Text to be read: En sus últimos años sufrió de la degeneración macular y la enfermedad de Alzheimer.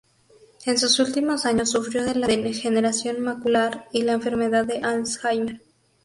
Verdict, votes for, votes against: rejected, 0, 2